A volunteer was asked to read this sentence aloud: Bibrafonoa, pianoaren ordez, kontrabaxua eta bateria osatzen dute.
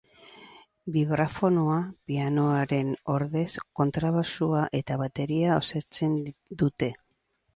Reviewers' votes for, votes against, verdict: 4, 0, accepted